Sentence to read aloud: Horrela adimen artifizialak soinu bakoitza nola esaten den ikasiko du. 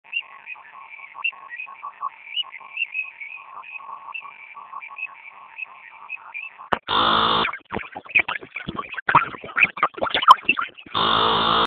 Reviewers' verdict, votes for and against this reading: rejected, 0, 4